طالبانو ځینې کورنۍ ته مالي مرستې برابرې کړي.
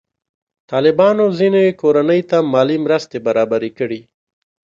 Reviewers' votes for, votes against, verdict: 2, 0, accepted